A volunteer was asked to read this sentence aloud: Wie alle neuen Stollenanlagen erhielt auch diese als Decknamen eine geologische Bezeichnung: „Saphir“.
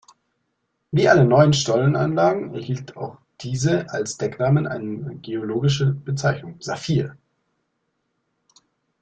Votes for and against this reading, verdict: 1, 2, rejected